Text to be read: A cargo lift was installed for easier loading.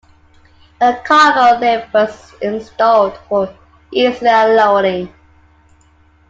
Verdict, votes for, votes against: accepted, 2, 0